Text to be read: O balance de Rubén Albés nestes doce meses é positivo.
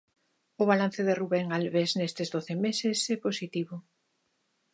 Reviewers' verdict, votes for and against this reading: accepted, 2, 0